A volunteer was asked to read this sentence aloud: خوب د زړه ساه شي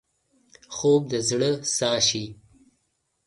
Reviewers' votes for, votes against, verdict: 2, 0, accepted